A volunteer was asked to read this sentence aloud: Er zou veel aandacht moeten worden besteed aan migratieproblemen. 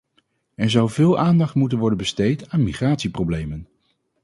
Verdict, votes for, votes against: accepted, 2, 0